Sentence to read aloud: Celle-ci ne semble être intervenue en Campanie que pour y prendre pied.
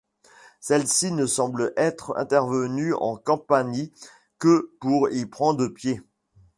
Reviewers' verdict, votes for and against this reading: accepted, 2, 1